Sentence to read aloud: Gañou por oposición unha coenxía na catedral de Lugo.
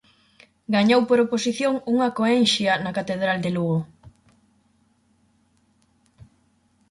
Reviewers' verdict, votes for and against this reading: rejected, 2, 4